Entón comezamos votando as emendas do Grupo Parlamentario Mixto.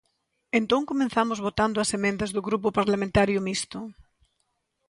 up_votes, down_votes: 0, 2